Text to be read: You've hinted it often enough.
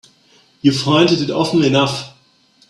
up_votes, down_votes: 1, 4